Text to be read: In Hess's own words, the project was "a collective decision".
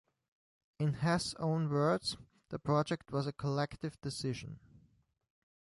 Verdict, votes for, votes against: rejected, 0, 2